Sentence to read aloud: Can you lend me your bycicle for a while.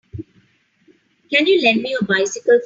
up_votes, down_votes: 0, 3